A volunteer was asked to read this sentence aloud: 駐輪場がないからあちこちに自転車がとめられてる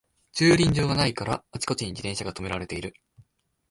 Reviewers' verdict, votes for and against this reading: accepted, 2, 0